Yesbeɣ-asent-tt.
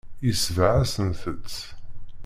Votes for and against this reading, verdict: 0, 2, rejected